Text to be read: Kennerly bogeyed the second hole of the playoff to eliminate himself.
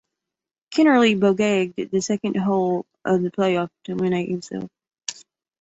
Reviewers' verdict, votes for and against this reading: rejected, 0, 2